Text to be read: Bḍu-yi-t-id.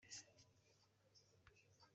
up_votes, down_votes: 0, 2